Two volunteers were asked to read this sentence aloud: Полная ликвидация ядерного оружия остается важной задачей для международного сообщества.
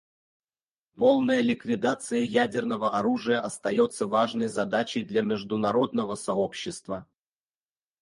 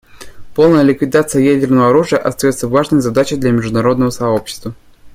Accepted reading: second